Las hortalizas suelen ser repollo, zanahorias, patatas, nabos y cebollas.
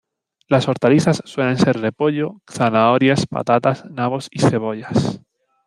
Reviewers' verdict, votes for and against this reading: rejected, 1, 2